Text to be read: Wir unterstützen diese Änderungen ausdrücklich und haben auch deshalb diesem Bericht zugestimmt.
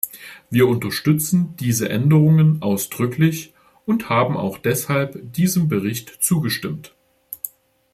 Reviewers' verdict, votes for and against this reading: accepted, 2, 0